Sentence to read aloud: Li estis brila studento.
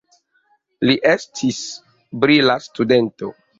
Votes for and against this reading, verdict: 3, 0, accepted